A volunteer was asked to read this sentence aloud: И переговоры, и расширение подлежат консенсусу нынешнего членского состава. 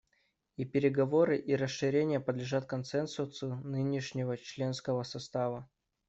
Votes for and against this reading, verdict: 2, 0, accepted